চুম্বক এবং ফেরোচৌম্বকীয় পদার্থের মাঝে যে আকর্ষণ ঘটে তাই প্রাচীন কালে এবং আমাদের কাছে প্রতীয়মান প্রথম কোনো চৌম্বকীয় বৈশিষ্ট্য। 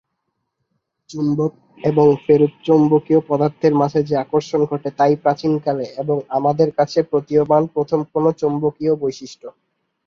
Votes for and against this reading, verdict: 1, 2, rejected